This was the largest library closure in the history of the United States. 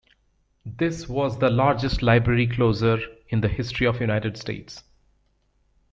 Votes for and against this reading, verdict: 0, 2, rejected